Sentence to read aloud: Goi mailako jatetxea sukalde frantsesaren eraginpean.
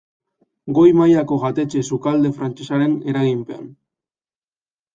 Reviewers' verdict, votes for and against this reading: rejected, 1, 2